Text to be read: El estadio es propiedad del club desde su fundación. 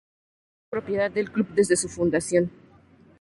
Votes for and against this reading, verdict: 0, 2, rejected